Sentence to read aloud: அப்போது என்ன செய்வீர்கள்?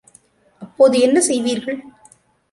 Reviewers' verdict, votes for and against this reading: accepted, 2, 0